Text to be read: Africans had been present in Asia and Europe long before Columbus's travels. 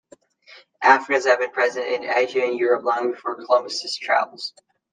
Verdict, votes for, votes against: rejected, 0, 2